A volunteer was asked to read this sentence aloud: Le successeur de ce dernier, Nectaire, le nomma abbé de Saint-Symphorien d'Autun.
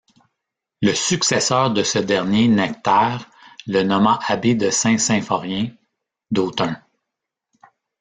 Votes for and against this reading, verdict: 1, 2, rejected